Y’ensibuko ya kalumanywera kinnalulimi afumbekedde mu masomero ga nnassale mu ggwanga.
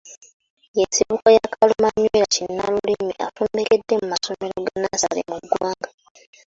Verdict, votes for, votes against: rejected, 1, 2